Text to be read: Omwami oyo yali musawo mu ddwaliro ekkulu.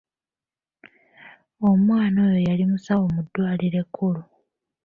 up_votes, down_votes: 1, 2